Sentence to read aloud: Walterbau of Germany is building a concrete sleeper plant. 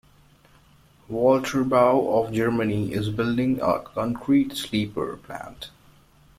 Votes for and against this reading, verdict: 2, 0, accepted